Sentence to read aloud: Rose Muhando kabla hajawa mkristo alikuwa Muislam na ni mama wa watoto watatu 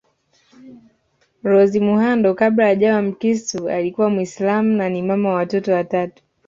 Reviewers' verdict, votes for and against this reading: accepted, 2, 0